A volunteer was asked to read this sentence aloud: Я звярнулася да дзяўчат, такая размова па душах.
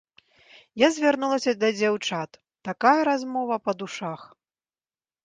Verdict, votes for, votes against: accepted, 2, 0